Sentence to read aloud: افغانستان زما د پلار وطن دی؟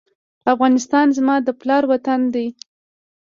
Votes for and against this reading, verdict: 0, 2, rejected